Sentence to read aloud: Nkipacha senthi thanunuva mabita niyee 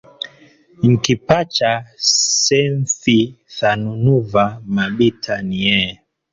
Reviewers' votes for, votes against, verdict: 2, 0, accepted